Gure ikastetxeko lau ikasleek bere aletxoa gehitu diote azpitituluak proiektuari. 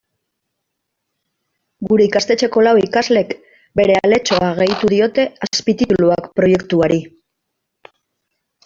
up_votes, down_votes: 0, 2